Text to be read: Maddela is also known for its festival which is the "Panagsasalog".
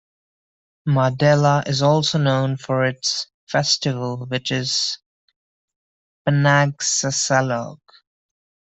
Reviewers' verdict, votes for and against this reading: rejected, 0, 2